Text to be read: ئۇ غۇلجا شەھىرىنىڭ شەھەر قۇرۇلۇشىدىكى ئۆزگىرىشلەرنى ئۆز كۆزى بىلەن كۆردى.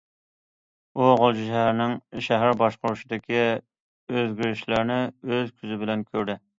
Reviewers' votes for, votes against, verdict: 0, 2, rejected